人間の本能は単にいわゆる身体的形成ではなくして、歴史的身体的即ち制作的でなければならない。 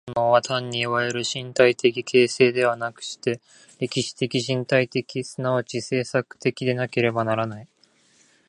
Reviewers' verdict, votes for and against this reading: rejected, 0, 2